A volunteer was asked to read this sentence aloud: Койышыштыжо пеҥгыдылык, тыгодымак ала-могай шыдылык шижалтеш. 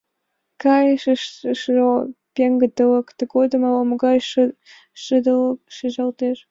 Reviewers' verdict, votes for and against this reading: rejected, 0, 2